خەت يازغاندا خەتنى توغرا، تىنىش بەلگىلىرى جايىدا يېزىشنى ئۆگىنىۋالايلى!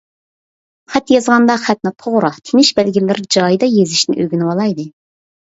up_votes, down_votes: 2, 0